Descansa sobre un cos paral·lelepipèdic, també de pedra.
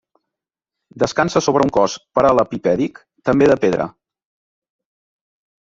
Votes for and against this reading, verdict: 1, 2, rejected